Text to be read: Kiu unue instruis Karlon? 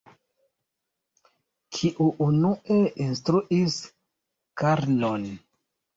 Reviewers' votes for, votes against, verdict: 0, 2, rejected